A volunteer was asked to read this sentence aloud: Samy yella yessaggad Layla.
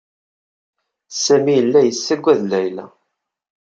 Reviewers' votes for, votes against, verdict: 2, 0, accepted